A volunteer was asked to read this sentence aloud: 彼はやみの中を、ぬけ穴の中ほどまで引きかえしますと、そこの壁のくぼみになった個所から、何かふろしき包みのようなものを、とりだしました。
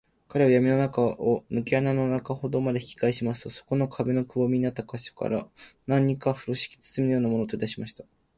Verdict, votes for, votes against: accepted, 2, 0